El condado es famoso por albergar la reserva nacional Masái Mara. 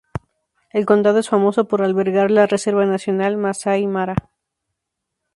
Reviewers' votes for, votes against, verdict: 2, 0, accepted